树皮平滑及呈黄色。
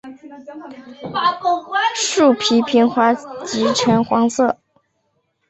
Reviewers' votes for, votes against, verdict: 2, 0, accepted